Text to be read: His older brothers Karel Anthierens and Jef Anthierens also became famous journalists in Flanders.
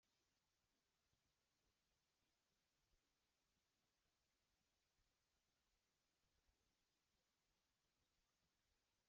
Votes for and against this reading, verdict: 0, 2, rejected